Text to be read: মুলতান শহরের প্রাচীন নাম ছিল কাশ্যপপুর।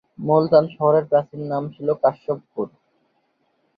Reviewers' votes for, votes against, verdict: 0, 2, rejected